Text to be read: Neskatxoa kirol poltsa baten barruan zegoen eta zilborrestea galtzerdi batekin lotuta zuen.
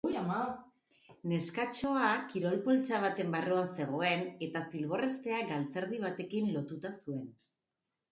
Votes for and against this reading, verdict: 0, 2, rejected